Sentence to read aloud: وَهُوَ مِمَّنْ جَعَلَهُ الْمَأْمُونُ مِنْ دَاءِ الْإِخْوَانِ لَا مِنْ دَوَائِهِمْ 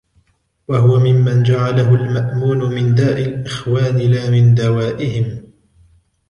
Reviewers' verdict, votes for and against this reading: rejected, 1, 2